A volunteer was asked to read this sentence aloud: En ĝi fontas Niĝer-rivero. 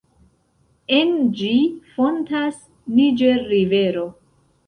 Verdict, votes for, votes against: accepted, 2, 0